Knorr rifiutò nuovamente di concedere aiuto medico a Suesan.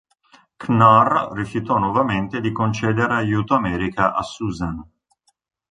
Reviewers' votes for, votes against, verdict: 0, 2, rejected